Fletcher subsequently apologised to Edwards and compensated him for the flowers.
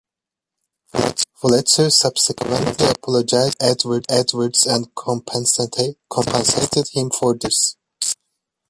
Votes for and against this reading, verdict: 0, 2, rejected